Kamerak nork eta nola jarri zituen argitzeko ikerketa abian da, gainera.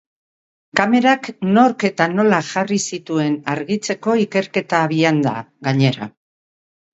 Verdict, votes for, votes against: accepted, 4, 0